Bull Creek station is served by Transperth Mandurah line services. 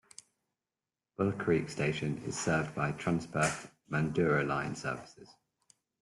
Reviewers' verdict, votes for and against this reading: accepted, 2, 0